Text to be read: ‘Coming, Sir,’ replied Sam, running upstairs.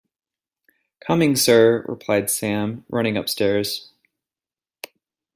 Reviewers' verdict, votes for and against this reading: accepted, 2, 0